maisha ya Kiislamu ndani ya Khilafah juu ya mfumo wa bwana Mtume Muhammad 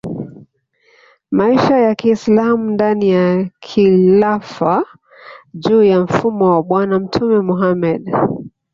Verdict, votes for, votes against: accepted, 2, 0